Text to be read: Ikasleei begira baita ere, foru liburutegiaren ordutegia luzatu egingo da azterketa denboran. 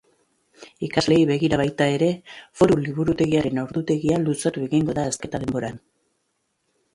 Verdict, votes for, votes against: rejected, 0, 2